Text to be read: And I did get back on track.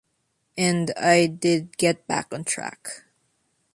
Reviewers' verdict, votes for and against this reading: accepted, 2, 0